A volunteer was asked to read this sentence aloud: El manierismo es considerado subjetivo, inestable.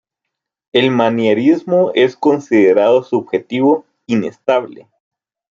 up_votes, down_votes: 2, 0